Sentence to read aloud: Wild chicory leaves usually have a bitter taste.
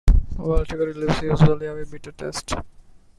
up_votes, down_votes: 0, 2